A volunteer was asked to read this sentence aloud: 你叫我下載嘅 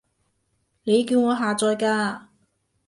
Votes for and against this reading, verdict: 1, 2, rejected